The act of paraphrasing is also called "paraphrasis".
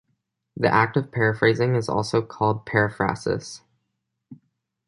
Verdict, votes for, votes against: accepted, 2, 0